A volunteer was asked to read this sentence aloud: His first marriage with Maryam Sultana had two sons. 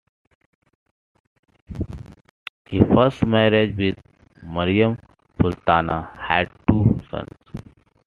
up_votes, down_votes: 2, 0